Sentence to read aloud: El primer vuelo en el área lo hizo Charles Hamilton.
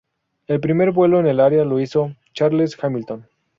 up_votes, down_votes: 2, 0